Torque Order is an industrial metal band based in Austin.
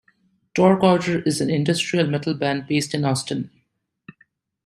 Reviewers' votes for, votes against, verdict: 2, 0, accepted